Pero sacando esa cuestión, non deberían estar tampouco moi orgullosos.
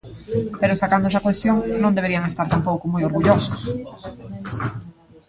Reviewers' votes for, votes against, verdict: 1, 2, rejected